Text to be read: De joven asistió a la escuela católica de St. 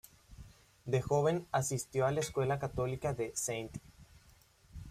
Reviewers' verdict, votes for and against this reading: accepted, 2, 0